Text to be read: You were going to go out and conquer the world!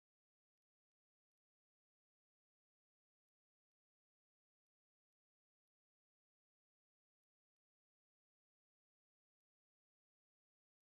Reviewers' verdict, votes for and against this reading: rejected, 0, 3